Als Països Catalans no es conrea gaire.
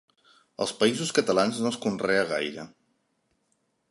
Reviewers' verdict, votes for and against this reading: accepted, 3, 0